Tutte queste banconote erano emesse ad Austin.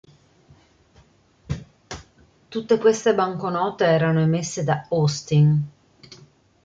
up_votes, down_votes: 0, 2